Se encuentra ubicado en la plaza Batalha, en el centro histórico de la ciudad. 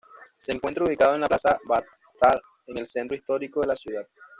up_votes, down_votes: 1, 2